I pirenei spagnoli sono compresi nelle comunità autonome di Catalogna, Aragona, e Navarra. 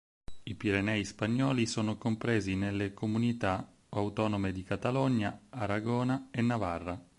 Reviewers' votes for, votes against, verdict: 4, 0, accepted